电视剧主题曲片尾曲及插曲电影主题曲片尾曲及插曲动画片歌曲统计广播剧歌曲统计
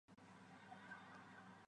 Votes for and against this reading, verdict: 1, 3, rejected